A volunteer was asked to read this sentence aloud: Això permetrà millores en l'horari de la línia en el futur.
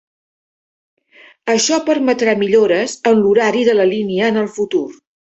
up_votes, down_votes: 3, 0